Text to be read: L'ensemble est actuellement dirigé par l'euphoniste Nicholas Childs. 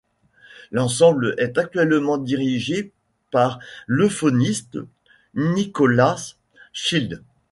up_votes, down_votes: 1, 2